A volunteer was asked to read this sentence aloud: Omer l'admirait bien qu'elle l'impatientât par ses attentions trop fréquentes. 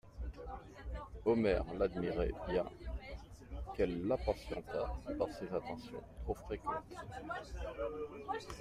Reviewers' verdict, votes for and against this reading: accepted, 2, 1